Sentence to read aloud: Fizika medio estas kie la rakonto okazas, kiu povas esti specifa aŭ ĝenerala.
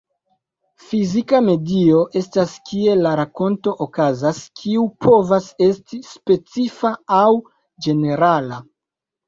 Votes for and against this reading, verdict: 1, 2, rejected